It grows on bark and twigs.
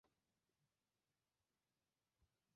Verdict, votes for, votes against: rejected, 0, 2